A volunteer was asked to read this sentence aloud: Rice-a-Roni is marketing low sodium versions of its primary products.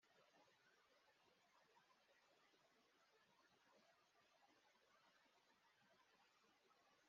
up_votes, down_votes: 0, 2